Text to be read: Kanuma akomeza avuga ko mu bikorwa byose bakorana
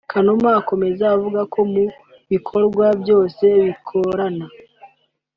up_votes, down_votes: 2, 3